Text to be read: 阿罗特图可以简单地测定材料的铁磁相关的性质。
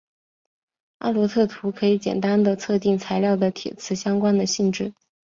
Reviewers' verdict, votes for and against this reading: accepted, 6, 1